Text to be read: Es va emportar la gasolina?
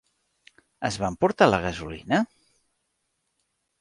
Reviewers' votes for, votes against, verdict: 2, 0, accepted